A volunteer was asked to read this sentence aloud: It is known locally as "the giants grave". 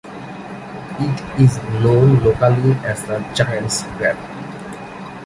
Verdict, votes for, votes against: accepted, 2, 0